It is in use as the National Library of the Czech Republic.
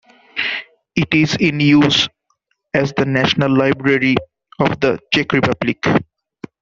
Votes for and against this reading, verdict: 0, 2, rejected